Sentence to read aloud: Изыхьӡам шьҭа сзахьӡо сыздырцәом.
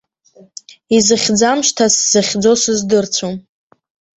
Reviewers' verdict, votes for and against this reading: rejected, 1, 2